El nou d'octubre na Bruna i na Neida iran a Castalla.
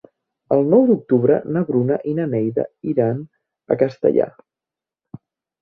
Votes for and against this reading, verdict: 2, 0, accepted